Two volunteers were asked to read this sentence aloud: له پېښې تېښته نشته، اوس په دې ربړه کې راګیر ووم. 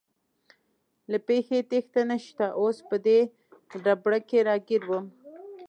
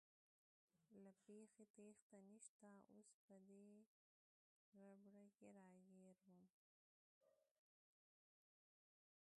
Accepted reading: first